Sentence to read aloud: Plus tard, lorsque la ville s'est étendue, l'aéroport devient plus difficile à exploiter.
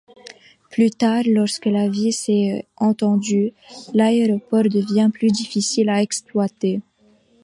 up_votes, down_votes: 1, 2